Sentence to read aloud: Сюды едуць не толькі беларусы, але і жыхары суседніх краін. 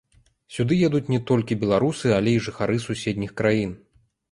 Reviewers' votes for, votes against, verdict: 2, 1, accepted